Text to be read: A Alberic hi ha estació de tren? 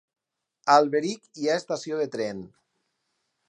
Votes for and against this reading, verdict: 0, 4, rejected